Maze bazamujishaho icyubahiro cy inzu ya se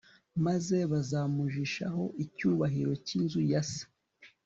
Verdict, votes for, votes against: accepted, 2, 0